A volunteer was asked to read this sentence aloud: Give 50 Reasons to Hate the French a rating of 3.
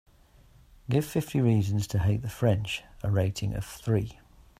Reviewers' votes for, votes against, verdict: 0, 2, rejected